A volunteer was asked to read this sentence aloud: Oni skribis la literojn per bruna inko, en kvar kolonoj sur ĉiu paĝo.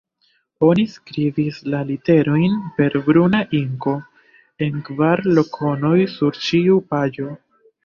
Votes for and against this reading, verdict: 0, 2, rejected